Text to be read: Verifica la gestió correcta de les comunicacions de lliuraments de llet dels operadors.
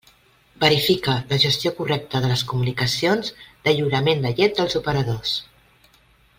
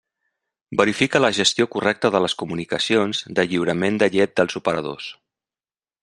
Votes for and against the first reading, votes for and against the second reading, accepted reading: 1, 2, 2, 0, second